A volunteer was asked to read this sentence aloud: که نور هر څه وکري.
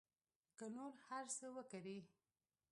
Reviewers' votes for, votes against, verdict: 2, 0, accepted